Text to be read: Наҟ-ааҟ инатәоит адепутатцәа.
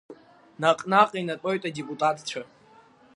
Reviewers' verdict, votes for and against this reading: accepted, 2, 1